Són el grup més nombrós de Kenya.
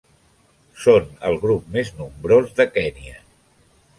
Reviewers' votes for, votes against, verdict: 2, 0, accepted